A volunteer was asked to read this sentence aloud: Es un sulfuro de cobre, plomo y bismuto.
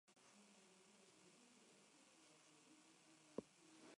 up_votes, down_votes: 0, 2